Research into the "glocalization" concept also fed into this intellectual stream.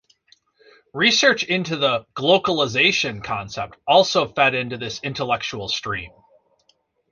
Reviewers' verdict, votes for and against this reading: accepted, 2, 0